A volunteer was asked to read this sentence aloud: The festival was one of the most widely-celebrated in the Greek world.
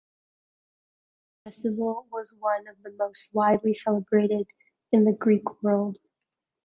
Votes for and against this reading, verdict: 1, 2, rejected